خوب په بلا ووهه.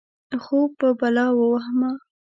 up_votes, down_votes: 1, 2